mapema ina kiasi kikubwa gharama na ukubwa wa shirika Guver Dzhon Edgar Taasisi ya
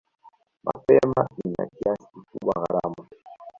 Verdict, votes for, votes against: rejected, 0, 2